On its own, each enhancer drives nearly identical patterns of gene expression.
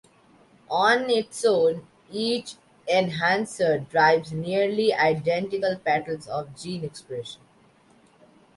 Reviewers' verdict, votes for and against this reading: accepted, 2, 0